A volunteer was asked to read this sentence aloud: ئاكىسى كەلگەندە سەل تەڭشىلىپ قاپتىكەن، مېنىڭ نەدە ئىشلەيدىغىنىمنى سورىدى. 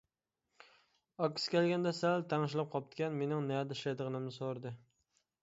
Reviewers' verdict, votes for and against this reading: accepted, 2, 1